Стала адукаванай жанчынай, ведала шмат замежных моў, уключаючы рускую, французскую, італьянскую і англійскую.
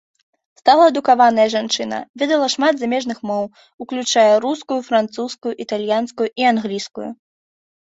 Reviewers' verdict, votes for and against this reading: rejected, 0, 2